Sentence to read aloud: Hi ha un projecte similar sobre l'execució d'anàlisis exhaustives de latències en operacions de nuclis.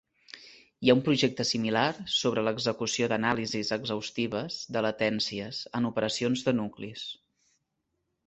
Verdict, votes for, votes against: accepted, 2, 0